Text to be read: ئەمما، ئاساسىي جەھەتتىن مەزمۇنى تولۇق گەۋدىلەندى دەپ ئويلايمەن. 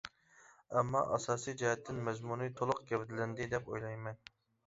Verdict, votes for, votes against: accepted, 3, 0